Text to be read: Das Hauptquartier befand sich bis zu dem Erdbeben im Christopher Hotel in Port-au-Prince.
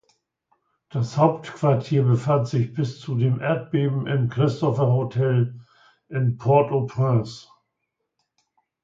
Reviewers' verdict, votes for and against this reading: accepted, 2, 0